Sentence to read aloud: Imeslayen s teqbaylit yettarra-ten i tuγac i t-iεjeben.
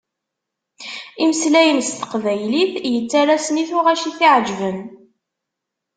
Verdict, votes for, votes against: rejected, 1, 2